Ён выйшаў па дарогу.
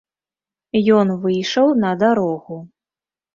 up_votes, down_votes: 1, 2